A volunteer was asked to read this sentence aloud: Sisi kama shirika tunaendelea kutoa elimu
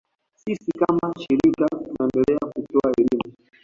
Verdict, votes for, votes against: accepted, 2, 0